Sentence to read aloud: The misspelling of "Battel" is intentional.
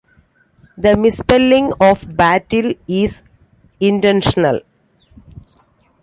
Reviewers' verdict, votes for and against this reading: accepted, 2, 0